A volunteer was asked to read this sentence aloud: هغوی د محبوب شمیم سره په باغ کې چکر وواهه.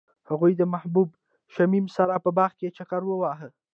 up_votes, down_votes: 0, 2